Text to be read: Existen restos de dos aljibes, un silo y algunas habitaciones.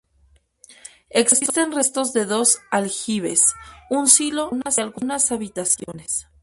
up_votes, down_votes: 0, 2